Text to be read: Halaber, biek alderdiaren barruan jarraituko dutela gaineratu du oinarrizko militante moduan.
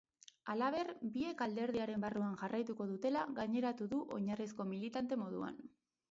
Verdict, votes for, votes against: accepted, 6, 0